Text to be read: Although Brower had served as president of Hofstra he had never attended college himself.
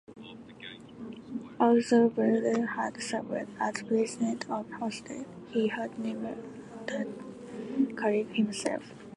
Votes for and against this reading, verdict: 2, 1, accepted